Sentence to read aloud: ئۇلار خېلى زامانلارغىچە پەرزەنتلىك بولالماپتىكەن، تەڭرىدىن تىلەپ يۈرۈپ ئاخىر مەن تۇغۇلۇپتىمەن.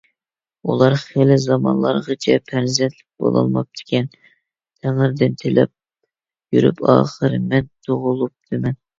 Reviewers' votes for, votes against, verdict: 2, 0, accepted